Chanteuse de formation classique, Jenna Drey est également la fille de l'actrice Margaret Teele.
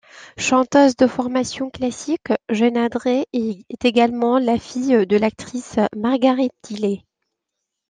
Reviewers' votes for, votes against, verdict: 2, 0, accepted